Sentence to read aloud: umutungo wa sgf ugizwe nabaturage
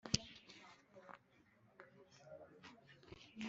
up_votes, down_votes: 0, 2